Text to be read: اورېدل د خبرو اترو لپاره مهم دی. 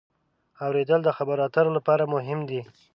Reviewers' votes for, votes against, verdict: 2, 0, accepted